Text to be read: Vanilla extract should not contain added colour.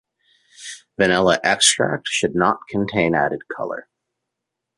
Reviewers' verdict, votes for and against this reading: accepted, 2, 1